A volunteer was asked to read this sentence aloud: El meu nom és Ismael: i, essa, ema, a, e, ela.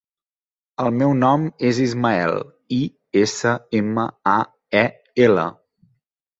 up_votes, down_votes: 2, 0